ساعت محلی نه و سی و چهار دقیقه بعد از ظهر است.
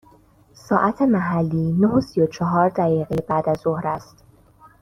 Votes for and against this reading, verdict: 2, 0, accepted